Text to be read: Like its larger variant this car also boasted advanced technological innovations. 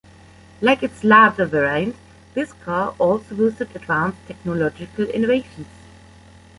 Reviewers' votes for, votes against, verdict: 0, 2, rejected